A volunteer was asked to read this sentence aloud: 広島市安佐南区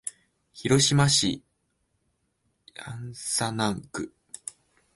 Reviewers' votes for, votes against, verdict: 2, 3, rejected